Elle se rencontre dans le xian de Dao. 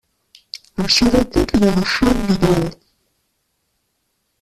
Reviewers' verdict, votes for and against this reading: rejected, 0, 2